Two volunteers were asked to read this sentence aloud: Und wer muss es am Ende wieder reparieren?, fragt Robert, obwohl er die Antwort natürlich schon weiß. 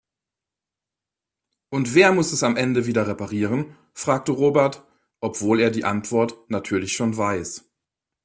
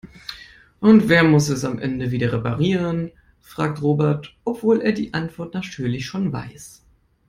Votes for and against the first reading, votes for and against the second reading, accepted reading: 0, 2, 2, 0, second